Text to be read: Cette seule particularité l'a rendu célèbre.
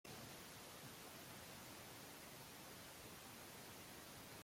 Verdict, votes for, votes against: rejected, 0, 2